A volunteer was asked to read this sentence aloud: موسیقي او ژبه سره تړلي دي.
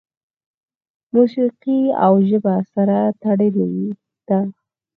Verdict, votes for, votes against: rejected, 2, 4